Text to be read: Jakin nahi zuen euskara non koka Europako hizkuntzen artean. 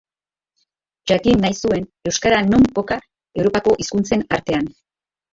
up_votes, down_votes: 2, 2